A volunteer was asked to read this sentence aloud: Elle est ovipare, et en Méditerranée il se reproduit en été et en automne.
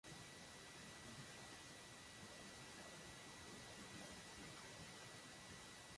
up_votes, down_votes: 0, 2